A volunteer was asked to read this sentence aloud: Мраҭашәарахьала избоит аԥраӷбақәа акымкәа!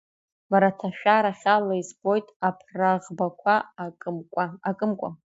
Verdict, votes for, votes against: rejected, 0, 2